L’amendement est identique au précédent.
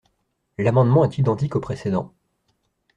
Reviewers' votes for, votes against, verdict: 2, 1, accepted